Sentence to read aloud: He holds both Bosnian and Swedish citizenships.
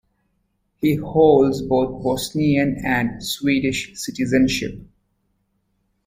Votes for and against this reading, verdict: 1, 2, rejected